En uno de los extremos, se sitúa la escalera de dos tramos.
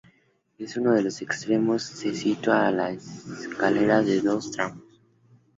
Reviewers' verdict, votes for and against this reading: rejected, 0, 2